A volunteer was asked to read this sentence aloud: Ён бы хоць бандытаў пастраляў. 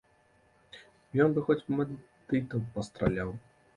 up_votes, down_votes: 1, 3